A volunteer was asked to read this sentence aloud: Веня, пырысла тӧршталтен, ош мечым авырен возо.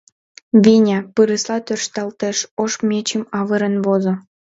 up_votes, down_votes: 0, 2